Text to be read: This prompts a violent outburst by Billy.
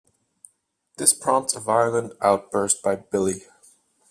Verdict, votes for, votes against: accepted, 2, 0